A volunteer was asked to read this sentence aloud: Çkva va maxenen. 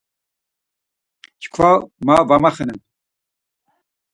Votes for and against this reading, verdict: 2, 4, rejected